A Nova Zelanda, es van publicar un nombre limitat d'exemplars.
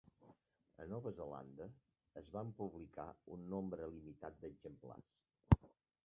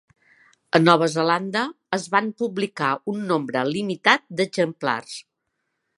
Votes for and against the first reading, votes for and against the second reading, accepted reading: 3, 4, 3, 0, second